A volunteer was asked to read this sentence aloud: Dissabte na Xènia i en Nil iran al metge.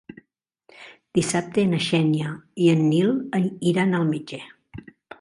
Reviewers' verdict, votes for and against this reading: rejected, 0, 2